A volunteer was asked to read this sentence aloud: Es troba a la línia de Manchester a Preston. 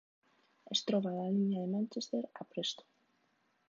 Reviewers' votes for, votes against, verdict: 0, 2, rejected